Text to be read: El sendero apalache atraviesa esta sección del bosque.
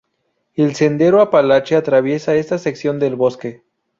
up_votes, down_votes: 2, 0